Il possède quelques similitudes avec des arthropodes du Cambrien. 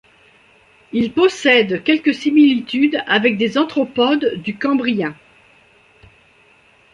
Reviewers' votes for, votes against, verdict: 1, 2, rejected